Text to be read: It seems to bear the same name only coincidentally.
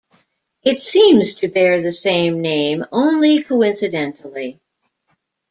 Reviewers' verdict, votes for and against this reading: accepted, 2, 0